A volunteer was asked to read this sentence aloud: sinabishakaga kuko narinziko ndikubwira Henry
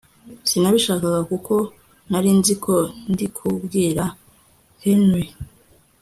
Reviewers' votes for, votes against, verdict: 2, 0, accepted